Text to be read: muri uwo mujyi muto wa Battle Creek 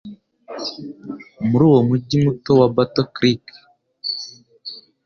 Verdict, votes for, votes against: accepted, 2, 0